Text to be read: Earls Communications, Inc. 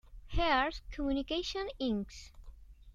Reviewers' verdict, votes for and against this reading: rejected, 0, 2